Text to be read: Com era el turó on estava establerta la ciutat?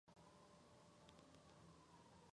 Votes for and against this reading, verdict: 0, 2, rejected